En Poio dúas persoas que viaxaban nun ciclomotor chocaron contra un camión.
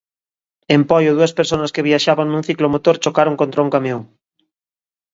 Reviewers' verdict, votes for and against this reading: rejected, 0, 2